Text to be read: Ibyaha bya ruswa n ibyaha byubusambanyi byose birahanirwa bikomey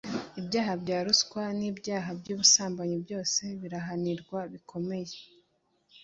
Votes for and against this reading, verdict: 2, 0, accepted